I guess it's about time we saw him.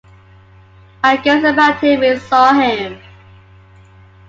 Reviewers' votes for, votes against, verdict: 1, 2, rejected